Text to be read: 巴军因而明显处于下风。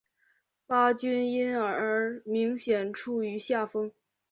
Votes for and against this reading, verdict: 0, 2, rejected